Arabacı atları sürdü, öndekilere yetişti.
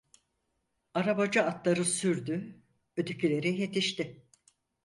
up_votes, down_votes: 0, 4